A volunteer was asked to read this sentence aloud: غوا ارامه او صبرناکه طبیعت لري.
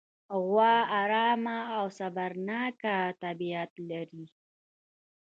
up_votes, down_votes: 3, 0